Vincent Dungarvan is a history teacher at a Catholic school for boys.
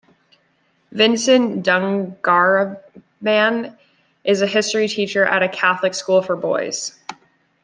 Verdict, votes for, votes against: accepted, 2, 0